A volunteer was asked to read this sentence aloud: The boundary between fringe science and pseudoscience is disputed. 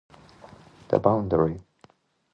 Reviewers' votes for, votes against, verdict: 0, 2, rejected